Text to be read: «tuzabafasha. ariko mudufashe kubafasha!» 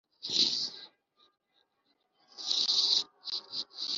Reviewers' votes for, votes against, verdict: 0, 3, rejected